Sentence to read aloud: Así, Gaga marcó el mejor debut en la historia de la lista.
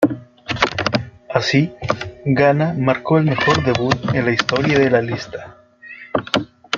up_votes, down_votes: 2, 1